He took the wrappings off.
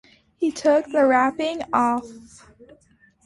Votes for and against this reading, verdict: 1, 2, rejected